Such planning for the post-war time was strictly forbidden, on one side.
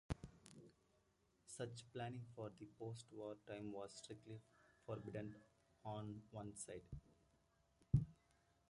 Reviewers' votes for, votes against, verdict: 1, 2, rejected